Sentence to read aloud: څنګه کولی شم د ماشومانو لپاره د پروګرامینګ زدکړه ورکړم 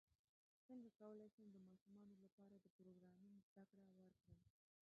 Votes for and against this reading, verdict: 2, 0, accepted